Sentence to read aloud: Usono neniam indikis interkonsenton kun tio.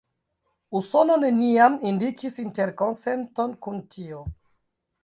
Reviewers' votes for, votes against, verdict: 0, 2, rejected